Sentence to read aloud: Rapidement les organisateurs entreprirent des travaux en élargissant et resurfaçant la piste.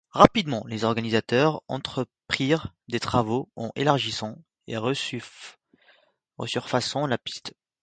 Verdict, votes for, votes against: rejected, 0, 2